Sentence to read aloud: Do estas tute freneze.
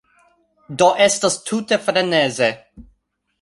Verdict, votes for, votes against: accepted, 2, 0